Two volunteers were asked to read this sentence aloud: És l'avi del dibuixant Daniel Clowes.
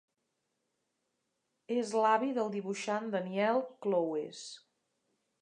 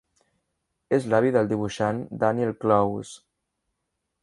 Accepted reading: second